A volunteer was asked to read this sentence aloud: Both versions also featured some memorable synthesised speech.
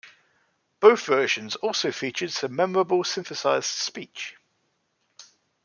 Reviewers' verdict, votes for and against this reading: accepted, 2, 1